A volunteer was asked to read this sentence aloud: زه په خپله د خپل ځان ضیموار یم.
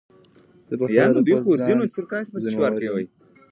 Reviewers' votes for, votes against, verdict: 0, 2, rejected